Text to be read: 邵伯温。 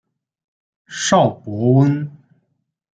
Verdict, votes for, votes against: accepted, 2, 0